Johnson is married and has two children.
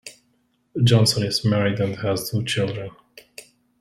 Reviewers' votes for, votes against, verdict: 1, 2, rejected